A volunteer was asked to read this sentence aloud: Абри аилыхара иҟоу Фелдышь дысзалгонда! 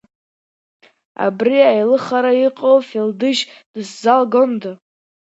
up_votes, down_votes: 0, 2